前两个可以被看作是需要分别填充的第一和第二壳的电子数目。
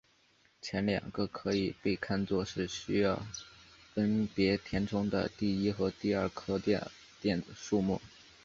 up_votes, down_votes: 2, 2